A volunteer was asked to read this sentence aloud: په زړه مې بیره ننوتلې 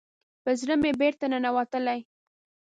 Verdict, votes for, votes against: rejected, 0, 2